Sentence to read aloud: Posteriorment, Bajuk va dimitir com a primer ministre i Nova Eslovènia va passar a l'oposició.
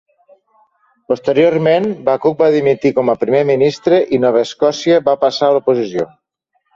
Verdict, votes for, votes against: rejected, 1, 2